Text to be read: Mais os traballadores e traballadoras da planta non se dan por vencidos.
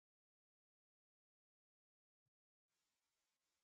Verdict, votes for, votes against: rejected, 0, 2